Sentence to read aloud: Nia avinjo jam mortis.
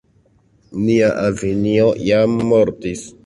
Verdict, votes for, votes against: accepted, 2, 0